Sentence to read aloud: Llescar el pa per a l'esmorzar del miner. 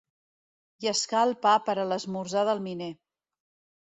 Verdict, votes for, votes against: accepted, 2, 0